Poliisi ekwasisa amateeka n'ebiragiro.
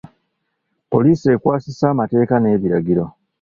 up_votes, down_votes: 2, 0